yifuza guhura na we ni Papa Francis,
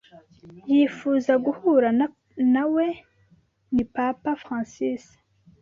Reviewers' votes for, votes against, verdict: 0, 2, rejected